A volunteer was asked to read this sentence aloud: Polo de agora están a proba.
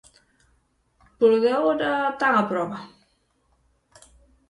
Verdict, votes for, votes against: rejected, 0, 6